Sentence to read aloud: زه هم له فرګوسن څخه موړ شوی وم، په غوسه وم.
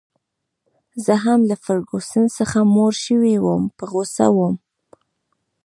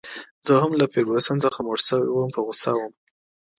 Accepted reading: second